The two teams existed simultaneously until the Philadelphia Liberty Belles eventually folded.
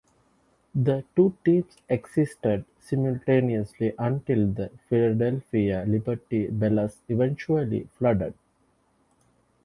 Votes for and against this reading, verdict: 0, 2, rejected